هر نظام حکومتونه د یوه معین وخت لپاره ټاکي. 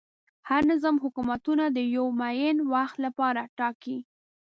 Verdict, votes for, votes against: accepted, 2, 0